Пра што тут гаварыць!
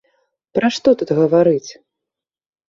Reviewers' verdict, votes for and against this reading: accepted, 2, 0